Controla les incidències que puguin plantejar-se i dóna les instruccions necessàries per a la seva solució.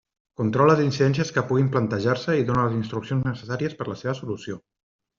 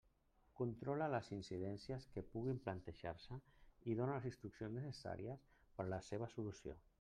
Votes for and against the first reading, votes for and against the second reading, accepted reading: 3, 1, 1, 2, first